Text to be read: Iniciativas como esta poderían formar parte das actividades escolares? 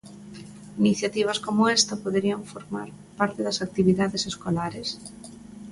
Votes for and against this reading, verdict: 2, 0, accepted